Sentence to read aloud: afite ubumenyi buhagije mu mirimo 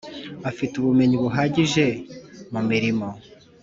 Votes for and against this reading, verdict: 2, 0, accepted